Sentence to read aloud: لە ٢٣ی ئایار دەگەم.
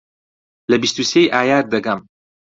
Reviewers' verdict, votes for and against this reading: rejected, 0, 2